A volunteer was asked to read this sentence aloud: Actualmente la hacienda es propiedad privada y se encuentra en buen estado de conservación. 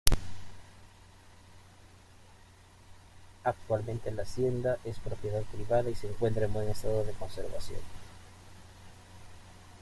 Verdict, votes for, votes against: rejected, 0, 2